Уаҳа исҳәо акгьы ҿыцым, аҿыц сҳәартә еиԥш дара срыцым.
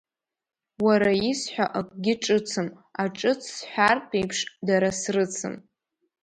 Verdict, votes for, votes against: rejected, 0, 2